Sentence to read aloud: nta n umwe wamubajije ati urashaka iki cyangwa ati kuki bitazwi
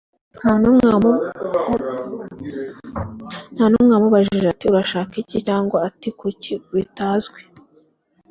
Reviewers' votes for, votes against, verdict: 1, 2, rejected